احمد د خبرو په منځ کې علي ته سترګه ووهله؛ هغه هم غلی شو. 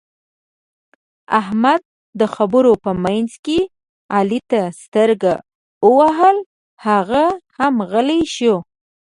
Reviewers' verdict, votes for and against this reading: rejected, 1, 2